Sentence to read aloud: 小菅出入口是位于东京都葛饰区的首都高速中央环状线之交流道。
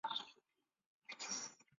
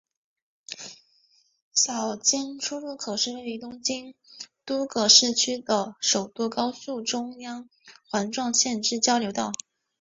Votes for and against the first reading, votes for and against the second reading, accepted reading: 0, 2, 2, 0, second